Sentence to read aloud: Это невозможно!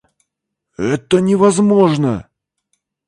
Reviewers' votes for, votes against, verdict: 2, 0, accepted